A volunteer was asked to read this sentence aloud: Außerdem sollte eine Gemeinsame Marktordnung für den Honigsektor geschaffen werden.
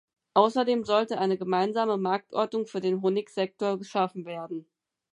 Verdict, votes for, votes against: accepted, 4, 0